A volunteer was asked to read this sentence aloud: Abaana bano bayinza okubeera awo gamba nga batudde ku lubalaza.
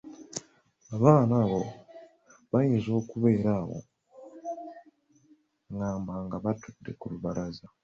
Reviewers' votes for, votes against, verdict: 1, 2, rejected